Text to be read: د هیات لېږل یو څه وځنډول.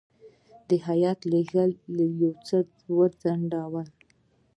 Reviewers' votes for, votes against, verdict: 1, 2, rejected